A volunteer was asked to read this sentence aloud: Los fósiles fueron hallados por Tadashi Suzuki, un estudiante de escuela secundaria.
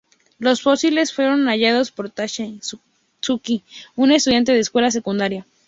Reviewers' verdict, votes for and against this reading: accepted, 2, 0